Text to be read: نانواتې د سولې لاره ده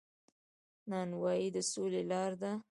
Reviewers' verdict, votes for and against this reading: rejected, 1, 2